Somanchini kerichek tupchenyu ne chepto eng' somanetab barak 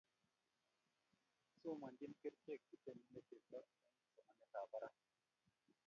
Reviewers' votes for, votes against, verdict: 0, 2, rejected